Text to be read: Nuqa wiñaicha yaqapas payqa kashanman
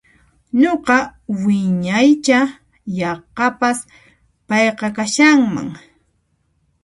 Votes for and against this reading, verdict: 0, 2, rejected